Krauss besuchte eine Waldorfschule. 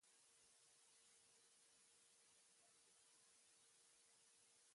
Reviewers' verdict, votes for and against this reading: rejected, 0, 2